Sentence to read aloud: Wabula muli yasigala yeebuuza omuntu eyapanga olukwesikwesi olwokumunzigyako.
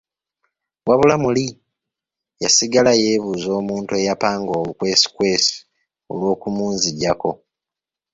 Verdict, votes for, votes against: accepted, 2, 0